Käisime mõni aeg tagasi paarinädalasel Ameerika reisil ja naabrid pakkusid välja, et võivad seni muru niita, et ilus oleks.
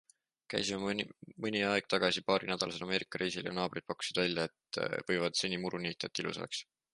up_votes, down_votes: 2, 1